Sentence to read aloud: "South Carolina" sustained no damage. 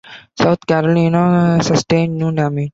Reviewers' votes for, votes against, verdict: 1, 2, rejected